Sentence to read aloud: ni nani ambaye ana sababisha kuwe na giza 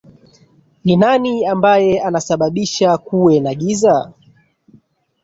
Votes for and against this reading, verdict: 2, 1, accepted